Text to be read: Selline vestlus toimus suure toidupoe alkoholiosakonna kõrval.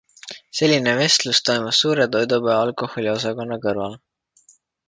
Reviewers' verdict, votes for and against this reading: accepted, 2, 0